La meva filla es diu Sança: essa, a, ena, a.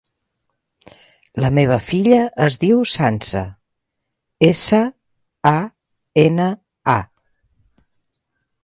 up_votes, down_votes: 3, 0